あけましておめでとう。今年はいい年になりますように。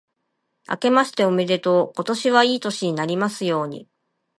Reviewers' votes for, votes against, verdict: 3, 0, accepted